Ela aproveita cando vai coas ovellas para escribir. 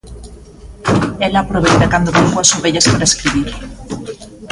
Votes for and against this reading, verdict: 1, 2, rejected